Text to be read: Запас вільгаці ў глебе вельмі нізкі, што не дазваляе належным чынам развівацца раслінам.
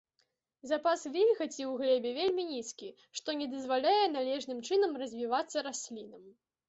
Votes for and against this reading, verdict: 2, 0, accepted